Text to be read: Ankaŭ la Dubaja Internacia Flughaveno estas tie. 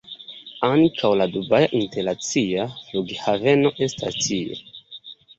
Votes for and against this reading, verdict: 2, 1, accepted